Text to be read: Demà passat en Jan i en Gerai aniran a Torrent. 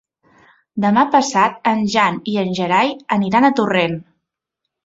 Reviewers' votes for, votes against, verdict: 3, 0, accepted